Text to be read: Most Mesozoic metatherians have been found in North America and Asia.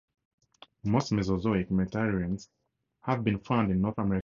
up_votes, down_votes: 0, 4